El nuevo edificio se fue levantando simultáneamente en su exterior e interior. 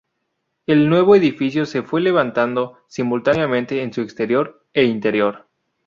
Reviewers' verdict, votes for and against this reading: accepted, 2, 0